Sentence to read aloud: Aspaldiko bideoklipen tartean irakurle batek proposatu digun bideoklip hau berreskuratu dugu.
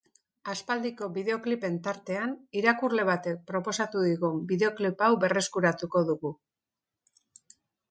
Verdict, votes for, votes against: rejected, 0, 2